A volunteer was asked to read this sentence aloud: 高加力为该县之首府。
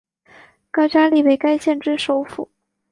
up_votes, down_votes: 2, 0